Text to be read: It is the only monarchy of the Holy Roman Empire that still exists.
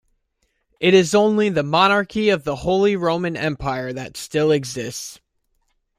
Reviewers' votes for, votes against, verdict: 1, 2, rejected